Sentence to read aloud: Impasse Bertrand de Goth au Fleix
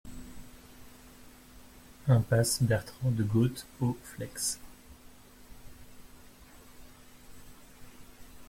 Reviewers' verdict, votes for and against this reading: rejected, 0, 2